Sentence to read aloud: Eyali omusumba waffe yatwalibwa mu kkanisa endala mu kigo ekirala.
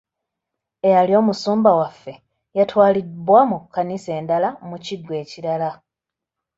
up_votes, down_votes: 0, 2